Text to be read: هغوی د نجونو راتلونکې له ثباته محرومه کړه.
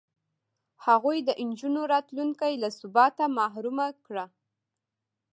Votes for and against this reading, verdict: 2, 0, accepted